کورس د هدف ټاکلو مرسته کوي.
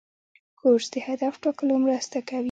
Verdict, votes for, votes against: rejected, 1, 2